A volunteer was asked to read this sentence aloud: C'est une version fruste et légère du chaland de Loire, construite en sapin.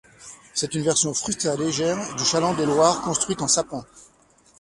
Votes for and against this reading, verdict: 1, 2, rejected